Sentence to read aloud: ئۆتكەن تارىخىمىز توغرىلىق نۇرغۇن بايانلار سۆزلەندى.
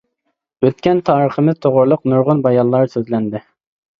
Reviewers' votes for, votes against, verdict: 2, 0, accepted